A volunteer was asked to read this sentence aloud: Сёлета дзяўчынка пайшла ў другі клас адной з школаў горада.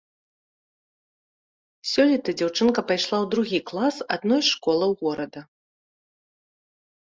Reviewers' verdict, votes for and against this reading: accepted, 2, 0